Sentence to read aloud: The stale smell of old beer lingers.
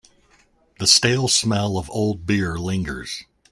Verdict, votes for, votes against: accepted, 2, 0